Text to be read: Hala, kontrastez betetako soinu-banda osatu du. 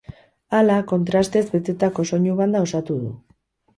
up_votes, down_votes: 2, 2